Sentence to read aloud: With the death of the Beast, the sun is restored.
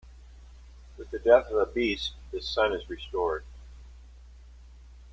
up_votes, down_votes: 2, 1